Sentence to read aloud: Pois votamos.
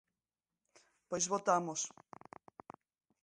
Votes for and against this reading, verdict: 2, 0, accepted